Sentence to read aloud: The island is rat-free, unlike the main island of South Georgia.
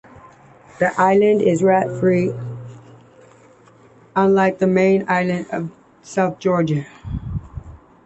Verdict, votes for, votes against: accepted, 2, 0